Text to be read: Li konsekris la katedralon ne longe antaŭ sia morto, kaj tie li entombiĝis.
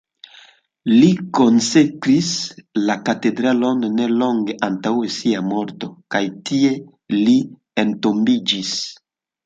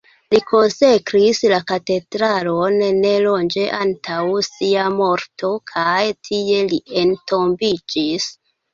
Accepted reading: first